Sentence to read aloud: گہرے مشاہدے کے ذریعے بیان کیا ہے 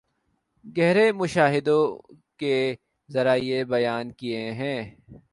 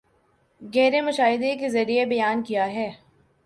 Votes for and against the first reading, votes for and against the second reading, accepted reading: 1, 4, 2, 1, second